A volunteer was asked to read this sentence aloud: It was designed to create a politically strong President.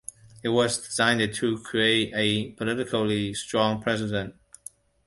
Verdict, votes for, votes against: accepted, 2, 1